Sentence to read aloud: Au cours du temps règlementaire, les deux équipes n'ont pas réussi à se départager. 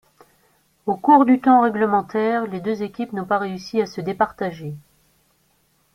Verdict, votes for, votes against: accepted, 2, 0